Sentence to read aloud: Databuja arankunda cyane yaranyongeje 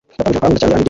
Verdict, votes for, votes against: accepted, 2, 0